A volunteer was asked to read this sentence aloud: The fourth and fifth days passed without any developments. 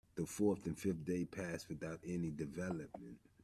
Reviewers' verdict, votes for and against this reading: rejected, 1, 2